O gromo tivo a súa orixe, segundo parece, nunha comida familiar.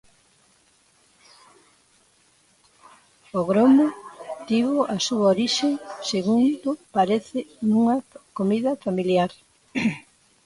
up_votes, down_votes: 0, 2